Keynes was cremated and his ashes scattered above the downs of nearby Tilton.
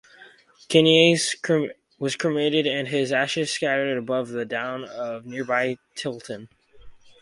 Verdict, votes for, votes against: rejected, 0, 4